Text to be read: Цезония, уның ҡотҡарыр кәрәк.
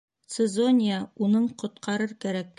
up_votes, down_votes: 2, 0